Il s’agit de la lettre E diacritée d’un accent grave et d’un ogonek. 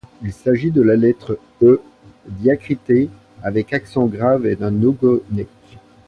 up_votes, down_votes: 1, 2